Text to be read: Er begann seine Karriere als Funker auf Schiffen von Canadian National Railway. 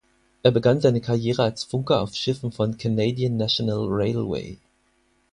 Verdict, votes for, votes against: accepted, 4, 0